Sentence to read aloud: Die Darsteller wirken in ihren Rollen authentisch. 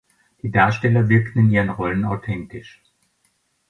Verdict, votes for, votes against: rejected, 1, 2